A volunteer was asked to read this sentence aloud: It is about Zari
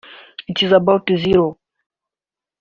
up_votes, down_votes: 0, 2